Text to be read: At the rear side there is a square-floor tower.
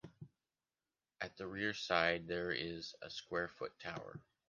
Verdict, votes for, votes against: rejected, 1, 2